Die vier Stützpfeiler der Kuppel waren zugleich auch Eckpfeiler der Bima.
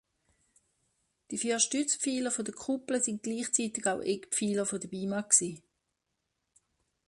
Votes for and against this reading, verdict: 0, 2, rejected